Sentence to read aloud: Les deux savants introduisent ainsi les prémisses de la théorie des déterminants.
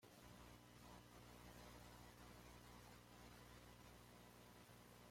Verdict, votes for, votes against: rejected, 1, 2